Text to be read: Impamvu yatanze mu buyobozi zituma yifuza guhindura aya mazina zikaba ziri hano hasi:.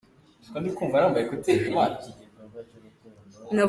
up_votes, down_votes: 0, 2